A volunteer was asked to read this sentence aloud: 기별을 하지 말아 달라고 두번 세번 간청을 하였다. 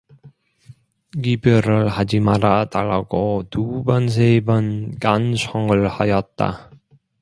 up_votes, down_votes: 0, 2